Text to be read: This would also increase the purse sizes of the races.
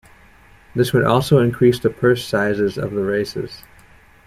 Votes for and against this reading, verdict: 2, 0, accepted